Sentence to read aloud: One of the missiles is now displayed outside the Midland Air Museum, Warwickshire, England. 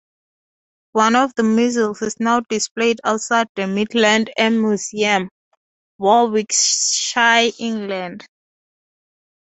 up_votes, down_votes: 2, 2